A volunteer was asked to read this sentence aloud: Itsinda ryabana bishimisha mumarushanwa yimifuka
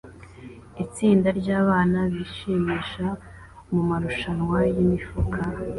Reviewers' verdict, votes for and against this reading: accepted, 2, 0